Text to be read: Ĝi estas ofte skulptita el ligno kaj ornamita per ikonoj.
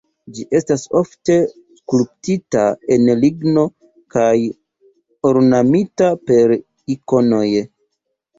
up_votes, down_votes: 2, 0